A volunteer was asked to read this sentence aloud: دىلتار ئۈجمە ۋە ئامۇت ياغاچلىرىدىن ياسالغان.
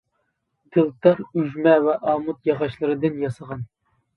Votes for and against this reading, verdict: 0, 2, rejected